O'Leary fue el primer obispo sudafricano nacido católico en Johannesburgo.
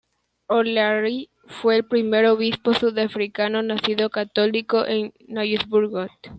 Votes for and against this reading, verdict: 0, 2, rejected